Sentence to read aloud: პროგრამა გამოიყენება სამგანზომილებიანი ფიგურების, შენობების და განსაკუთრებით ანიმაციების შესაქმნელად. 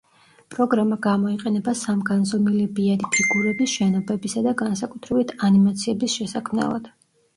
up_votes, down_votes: 0, 2